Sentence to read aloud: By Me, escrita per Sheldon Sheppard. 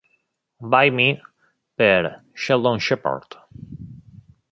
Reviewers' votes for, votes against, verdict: 0, 2, rejected